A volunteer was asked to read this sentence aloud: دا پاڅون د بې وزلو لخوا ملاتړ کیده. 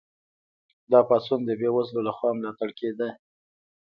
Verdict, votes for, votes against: accepted, 2, 0